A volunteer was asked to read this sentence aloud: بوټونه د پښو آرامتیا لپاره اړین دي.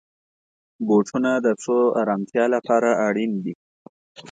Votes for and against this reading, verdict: 2, 0, accepted